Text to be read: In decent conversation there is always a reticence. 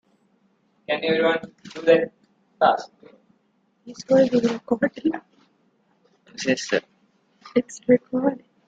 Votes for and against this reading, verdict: 0, 2, rejected